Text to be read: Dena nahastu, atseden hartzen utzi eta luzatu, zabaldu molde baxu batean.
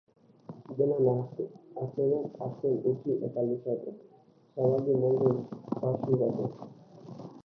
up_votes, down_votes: 1, 3